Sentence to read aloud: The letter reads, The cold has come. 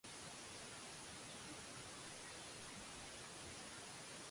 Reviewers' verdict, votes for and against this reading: rejected, 0, 2